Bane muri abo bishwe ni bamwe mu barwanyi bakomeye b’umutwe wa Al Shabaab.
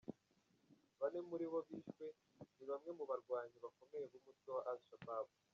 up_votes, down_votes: 0, 2